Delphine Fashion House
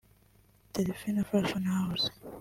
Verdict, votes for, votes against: rejected, 0, 2